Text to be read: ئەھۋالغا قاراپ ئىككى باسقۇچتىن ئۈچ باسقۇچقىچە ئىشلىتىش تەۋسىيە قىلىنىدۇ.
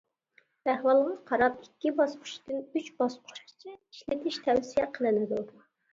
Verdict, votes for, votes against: rejected, 1, 2